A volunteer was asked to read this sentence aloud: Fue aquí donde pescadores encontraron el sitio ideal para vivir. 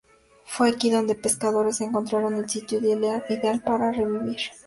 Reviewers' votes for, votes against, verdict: 0, 2, rejected